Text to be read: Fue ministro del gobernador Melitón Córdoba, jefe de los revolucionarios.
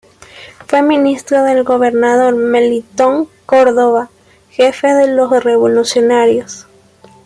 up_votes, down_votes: 2, 0